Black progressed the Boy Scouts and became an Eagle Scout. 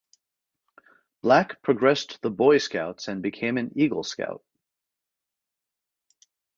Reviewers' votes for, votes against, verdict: 4, 0, accepted